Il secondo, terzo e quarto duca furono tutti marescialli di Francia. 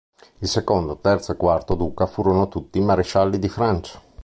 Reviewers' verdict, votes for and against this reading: accepted, 4, 0